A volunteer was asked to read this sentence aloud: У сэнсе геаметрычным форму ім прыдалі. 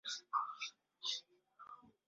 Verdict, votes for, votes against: rejected, 0, 2